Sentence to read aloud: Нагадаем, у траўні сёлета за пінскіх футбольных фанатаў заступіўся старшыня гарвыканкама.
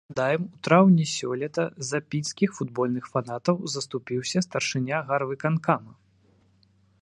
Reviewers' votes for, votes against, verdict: 1, 3, rejected